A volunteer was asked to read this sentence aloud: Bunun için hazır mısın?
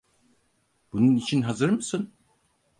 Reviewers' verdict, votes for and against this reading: accepted, 4, 0